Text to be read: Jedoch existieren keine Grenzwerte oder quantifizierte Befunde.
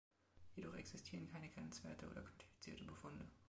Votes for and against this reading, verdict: 2, 1, accepted